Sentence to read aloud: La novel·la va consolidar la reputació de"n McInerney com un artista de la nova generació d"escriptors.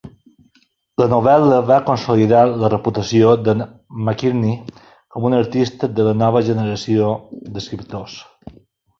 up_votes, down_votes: 1, 2